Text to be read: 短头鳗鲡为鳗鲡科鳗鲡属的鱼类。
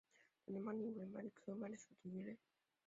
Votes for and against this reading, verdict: 1, 2, rejected